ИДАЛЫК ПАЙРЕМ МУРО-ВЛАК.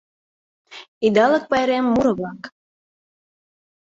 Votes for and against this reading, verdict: 2, 0, accepted